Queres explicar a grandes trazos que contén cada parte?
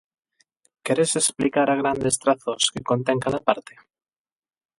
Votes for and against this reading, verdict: 8, 4, accepted